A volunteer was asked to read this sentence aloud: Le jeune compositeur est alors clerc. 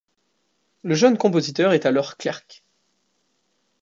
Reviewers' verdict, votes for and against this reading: rejected, 0, 2